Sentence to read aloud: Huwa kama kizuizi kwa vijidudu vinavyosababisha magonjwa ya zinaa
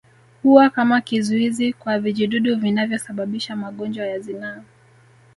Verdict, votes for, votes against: accepted, 2, 1